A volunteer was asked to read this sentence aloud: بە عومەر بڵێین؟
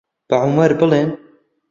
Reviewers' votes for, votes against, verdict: 1, 2, rejected